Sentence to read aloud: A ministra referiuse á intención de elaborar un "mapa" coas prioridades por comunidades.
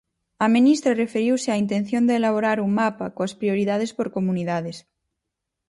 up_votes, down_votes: 4, 0